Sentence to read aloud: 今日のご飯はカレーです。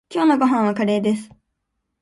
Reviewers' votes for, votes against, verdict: 2, 0, accepted